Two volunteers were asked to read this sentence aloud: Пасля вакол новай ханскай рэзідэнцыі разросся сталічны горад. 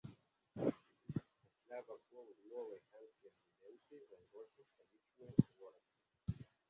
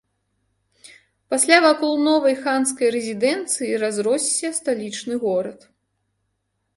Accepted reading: second